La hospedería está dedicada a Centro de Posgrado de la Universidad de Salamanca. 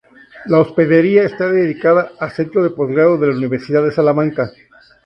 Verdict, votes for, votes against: rejected, 2, 2